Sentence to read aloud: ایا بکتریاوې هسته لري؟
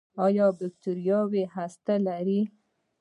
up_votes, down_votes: 1, 2